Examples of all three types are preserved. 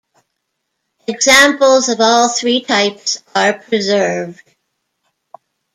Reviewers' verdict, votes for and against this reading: accepted, 2, 0